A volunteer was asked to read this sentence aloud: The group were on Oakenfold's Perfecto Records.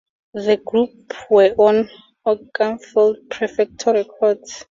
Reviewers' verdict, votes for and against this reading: rejected, 2, 2